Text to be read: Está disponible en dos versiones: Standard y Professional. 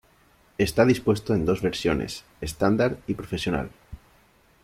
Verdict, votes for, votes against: rejected, 1, 2